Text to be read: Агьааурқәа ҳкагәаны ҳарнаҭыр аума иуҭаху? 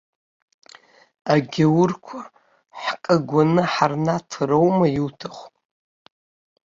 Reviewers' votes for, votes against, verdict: 1, 2, rejected